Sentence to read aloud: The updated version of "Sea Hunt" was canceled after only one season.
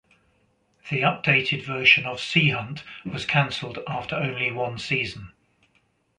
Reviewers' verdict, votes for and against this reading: accepted, 2, 1